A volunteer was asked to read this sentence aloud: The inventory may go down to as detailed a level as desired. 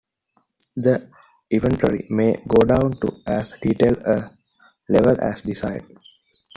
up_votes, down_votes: 2, 1